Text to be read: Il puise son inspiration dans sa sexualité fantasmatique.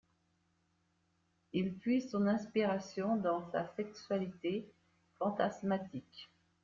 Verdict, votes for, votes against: accepted, 2, 0